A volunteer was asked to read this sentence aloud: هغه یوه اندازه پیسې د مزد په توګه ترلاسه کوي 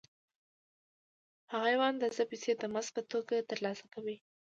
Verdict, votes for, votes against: accepted, 2, 0